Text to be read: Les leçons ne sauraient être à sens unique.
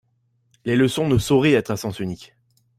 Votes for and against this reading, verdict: 1, 2, rejected